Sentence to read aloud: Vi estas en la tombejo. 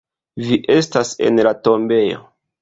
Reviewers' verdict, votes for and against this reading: accepted, 2, 1